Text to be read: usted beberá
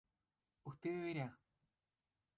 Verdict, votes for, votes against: rejected, 0, 2